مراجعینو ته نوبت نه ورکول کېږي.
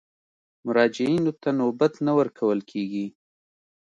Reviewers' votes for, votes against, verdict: 2, 0, accepted